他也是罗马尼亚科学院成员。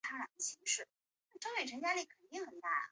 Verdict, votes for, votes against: rejected, 0, 4